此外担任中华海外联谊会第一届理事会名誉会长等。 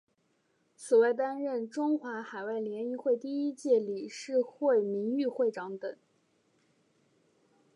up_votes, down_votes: 3, 0